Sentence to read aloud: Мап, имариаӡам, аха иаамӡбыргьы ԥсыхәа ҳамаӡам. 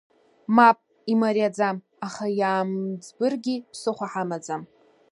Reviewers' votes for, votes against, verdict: 1, 2, rejected